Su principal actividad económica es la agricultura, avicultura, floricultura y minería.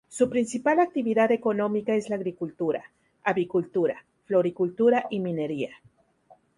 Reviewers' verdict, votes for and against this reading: rejected, 0, 2